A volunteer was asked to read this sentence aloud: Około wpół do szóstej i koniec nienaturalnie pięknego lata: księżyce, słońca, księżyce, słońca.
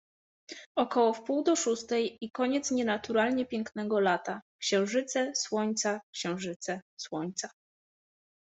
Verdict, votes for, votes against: accepted, 2, 0